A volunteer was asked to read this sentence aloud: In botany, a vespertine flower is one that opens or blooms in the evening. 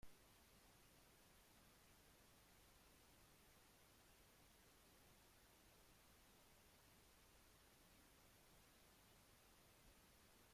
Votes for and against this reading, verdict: 0, 2, rejected